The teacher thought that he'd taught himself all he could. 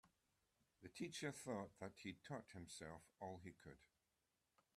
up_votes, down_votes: 2, 0